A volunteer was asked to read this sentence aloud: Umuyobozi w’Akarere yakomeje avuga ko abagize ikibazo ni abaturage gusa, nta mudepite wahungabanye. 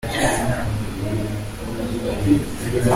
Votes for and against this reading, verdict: 0, 3, rejected